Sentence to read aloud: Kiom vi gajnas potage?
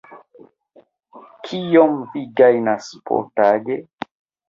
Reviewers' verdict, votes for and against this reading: rejected, 1, 2